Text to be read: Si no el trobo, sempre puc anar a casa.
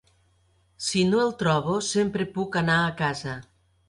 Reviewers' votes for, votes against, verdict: 4, 0, accepted